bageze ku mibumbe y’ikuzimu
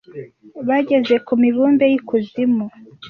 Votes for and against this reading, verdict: 2, 0, accepted